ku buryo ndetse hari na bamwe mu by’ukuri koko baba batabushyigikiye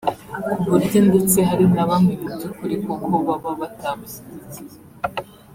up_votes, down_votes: 2, 3